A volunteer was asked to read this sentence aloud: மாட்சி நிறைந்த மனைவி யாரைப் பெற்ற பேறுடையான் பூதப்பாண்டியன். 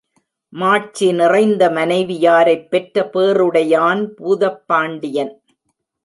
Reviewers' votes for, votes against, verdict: 2, 0, accepted